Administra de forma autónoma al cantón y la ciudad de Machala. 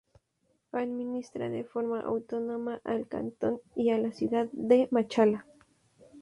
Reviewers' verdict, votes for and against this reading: rejected, 0, 2